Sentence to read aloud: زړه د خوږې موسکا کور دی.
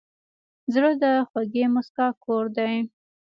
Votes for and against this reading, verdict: 1, 2, rejected